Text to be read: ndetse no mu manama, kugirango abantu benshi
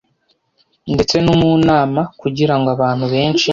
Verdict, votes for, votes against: rejected, 1, 2